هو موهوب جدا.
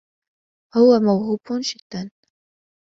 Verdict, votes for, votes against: rejected, 1, 2